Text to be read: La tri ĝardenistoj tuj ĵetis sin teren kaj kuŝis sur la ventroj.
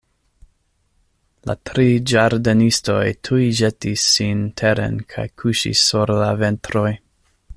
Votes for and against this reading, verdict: 2, 0, accepted